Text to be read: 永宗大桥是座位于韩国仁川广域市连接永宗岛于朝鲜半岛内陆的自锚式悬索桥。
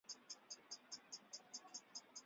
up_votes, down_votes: 0, 2